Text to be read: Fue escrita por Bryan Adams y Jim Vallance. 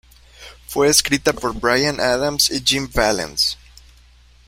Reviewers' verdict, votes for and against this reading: accepted, 2, 0